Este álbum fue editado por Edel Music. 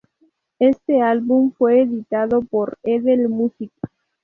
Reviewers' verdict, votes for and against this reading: rejected, 2, 2